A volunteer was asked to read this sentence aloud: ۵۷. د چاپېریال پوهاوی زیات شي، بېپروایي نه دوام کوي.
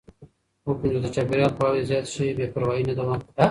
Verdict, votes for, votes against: rejected, 0, 2